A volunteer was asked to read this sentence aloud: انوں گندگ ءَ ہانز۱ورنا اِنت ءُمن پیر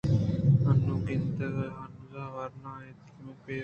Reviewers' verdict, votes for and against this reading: rejected, 0, 2